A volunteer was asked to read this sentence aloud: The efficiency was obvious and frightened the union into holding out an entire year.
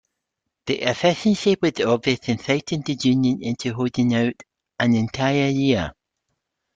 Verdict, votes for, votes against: accepted, 2, 0